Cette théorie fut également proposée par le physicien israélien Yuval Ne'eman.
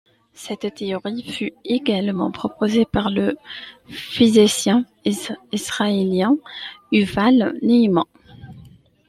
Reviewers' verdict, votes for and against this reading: rejected, 0, 2